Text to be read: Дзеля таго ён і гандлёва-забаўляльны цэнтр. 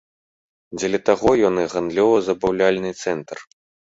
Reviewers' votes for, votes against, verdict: 2, 0, accepted